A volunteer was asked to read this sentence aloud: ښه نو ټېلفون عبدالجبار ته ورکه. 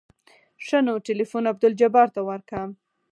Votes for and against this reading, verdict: 4, 0, accepted